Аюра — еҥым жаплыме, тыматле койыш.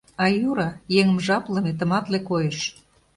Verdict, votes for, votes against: accepted, 2, 0